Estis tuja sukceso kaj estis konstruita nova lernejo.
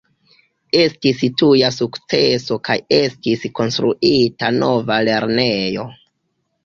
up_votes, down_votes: 1, 2